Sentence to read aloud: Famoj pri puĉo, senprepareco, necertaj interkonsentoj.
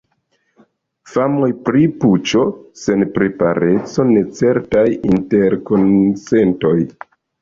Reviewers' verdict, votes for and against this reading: rejected, 0, 2